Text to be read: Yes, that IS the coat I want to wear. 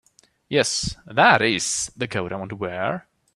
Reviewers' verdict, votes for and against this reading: accepted, 2, 0